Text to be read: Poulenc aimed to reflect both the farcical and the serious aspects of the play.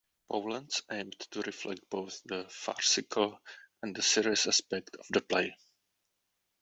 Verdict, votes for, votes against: rejected, 1, 2